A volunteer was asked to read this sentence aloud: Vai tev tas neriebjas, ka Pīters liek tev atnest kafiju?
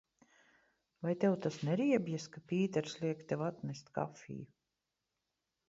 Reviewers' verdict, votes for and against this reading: accepted, 2, 0